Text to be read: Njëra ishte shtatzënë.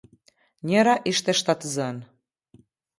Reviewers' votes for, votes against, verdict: 2, 0, accepted